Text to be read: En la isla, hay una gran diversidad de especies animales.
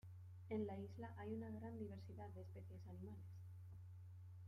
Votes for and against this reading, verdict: 0, 2, rejected